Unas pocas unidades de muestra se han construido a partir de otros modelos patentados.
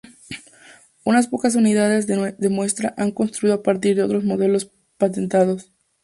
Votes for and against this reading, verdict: 0, 2, rejected